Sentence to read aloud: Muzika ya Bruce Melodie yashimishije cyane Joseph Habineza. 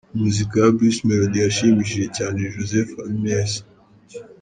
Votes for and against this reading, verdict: 2, 0, accepted